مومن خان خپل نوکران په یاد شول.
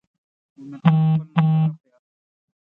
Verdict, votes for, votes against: rejected, 0, 6